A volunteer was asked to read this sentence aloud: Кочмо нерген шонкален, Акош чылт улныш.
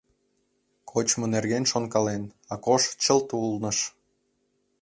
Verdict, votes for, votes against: accepted, 3, 0